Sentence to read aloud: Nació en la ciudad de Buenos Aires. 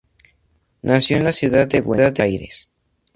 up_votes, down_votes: 0, 2